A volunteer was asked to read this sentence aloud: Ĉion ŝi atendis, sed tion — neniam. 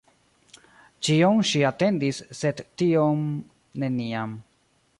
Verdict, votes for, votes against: rejected, 0, 2